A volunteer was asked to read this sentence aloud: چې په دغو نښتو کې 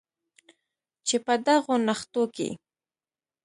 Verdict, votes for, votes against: rejected, 1, 2